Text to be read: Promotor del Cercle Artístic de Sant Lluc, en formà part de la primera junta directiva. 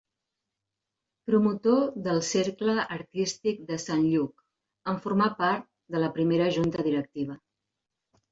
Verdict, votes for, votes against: accepted, 2, 0